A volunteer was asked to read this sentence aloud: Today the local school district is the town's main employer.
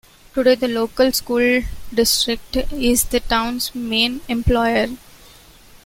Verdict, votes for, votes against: accepted, 2, 0